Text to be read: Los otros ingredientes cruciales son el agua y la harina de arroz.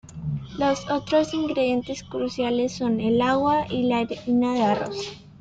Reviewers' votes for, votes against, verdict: 1, 2, rejected